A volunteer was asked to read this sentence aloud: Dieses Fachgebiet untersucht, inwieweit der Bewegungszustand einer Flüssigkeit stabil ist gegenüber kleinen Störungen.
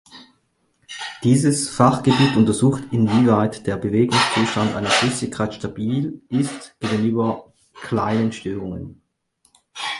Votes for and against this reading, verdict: 2, 4, rejected